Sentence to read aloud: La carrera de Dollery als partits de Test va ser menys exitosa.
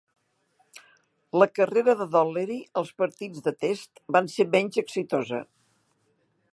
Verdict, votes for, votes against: rejected, 1, 3